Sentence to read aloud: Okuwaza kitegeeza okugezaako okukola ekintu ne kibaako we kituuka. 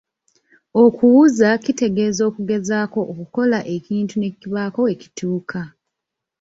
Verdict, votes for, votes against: rejected, 1, 2